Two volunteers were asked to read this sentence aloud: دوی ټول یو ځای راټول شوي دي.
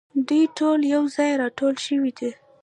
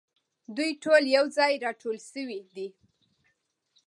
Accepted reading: second